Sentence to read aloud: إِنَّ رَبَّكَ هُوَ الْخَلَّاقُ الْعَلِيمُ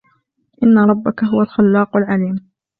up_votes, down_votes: 2, 0